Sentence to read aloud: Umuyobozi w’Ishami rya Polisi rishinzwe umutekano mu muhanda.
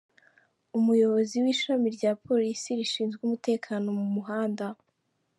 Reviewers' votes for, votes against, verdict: 1, 2, rejected